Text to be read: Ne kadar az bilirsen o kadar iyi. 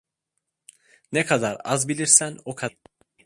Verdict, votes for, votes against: rejected, 0, 2